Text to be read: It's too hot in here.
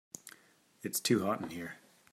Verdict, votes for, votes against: accepted, 3, 0